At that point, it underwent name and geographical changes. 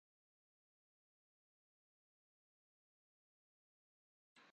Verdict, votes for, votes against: rejected, 0, 2